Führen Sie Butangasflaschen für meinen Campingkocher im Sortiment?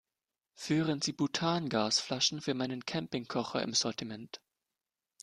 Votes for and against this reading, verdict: 2, 0, accepted